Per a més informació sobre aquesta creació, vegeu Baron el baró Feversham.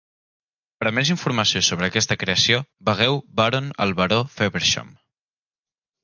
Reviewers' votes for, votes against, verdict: 1, 2, rejected